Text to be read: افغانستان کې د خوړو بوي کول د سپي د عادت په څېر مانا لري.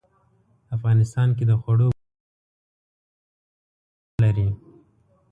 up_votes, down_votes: 0, 2